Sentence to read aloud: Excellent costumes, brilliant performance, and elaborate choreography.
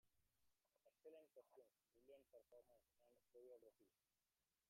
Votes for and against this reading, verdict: 0, 2, rejected